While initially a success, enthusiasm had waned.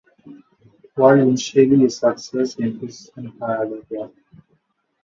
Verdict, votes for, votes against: rejected, 0, 3